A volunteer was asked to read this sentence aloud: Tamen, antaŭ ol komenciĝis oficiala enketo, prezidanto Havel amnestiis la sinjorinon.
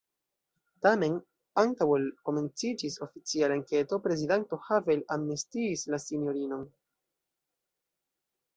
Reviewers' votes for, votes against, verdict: 0, 2, rejected